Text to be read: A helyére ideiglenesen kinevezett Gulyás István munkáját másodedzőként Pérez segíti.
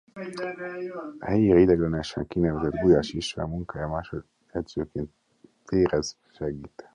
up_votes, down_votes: 0, 2